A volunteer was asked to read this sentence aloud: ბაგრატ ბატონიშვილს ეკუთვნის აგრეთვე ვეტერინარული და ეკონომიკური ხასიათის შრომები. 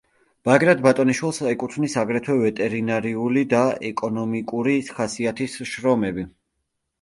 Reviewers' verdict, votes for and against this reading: rejected, 0, 2